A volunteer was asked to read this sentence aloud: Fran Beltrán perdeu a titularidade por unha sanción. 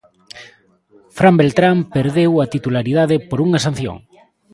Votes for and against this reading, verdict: 2, 1, accepted